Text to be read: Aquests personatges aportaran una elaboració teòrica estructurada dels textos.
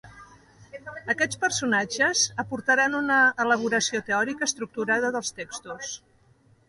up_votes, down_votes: 2, 0